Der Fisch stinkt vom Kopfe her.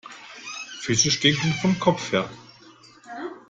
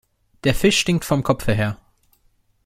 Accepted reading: second